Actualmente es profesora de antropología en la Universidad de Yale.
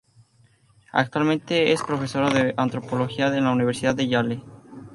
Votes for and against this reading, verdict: 4, 0, accepted